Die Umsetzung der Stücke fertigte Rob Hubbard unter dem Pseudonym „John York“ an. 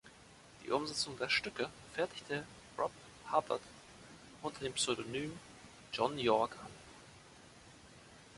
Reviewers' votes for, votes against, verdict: 0, 2, rejected